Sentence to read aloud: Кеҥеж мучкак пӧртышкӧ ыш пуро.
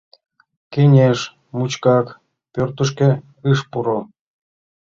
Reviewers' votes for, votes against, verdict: 2, 0, accepted